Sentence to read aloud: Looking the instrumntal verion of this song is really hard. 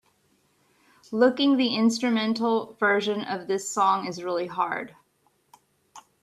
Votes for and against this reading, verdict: 2, 1, accepted